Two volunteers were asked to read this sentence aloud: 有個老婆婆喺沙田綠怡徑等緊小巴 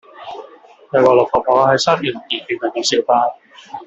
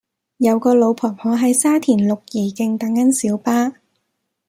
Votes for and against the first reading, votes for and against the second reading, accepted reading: 0, 2, 2, 0, second